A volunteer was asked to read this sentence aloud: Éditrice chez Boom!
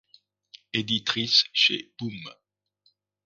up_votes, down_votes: 2, 0